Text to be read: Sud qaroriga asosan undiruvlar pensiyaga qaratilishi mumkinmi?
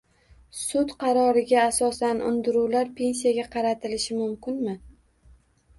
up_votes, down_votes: 2, 0